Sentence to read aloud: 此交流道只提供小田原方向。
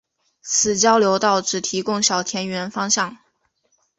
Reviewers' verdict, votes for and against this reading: accepted, 2, 0